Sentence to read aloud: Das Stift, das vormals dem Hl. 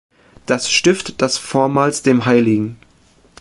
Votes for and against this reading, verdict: 0, 2, rejected